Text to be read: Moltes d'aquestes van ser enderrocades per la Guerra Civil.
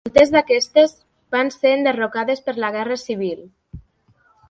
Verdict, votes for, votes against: rejected, 1, 2